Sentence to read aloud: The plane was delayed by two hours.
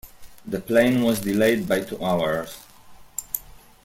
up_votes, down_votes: 1, 2